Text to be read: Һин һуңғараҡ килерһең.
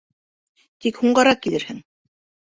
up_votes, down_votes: 1, 2